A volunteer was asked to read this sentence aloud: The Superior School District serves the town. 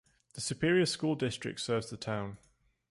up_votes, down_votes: 1, 2